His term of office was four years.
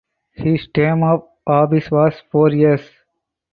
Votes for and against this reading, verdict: 4, 2, accepted